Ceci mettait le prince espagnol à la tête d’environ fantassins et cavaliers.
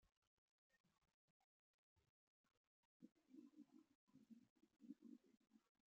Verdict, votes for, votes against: rejected, 0, 2